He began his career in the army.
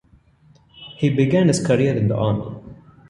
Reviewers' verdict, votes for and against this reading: rejected, 1, 2